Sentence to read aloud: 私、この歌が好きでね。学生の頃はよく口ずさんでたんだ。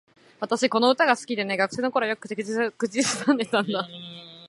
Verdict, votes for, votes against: rejected, 1, 2